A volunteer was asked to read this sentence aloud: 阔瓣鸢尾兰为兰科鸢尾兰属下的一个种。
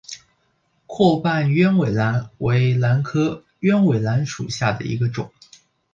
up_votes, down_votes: 6, 0